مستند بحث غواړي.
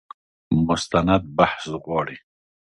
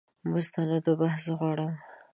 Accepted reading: first